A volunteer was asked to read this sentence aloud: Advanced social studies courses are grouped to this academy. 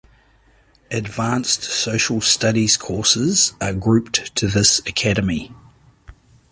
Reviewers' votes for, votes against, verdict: 2, 0, accepted